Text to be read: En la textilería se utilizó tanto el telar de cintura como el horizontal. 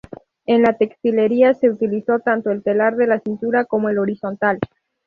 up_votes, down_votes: 2, 2